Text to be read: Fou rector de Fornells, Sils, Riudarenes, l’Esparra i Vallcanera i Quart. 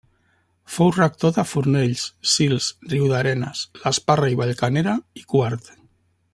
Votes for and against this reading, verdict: 3, 0, accepted